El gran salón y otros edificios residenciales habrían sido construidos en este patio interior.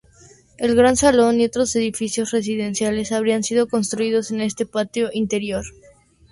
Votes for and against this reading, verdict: 4, 0, accepted